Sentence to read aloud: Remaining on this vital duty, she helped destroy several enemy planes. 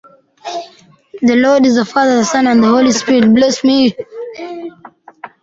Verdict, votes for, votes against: rejected, 0, 2